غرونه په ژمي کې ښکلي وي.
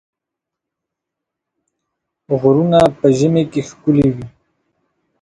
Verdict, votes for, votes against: rejected, 1, 2